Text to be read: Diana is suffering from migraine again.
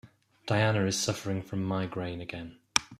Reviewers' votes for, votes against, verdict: 2, 0, accepted